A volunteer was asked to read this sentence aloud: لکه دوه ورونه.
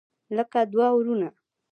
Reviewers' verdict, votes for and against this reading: rejected, 0, 2